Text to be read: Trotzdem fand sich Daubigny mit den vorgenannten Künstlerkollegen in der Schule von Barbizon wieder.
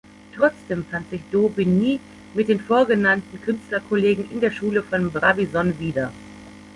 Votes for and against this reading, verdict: 0, 2, rejected